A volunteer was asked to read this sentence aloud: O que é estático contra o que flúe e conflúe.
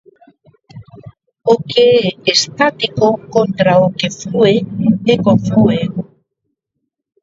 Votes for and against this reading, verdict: 2, 1, accepted